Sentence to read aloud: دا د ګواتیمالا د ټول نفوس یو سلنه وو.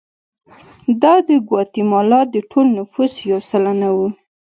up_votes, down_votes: 2, 0